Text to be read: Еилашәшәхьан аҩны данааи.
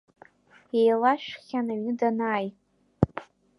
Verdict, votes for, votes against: rejected, 1, 2